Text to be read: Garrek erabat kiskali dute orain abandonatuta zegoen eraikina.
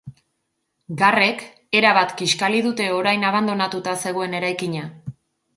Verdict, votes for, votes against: accepted, 2, 0